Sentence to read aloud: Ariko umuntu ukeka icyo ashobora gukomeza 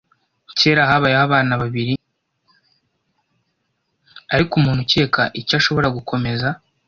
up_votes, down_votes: 1, 2